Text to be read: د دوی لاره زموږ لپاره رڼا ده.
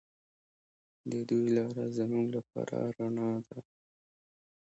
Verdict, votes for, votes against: accepted, 2, 1